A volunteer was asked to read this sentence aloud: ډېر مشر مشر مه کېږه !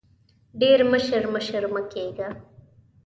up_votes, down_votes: 2, 0